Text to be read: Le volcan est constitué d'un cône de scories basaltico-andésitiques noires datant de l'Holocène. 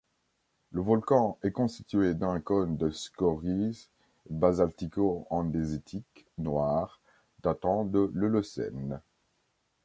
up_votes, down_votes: 2, 0